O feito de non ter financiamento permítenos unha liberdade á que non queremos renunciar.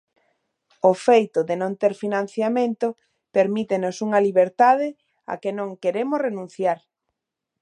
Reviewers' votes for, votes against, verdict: 1, 2, rejected